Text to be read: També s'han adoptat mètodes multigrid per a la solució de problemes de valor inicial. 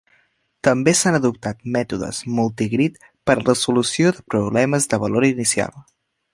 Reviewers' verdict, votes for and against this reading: rejected, 1, 2